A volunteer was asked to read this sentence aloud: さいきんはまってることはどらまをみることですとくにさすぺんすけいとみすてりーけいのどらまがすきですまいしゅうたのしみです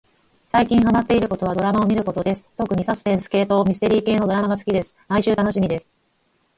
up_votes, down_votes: 0, 4